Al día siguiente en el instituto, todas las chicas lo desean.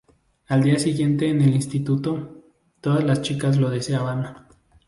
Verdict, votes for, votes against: rejected, 0, 2